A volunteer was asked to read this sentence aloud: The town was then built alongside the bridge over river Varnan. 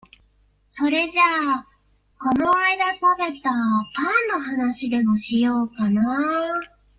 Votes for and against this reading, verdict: 1, 2, rejected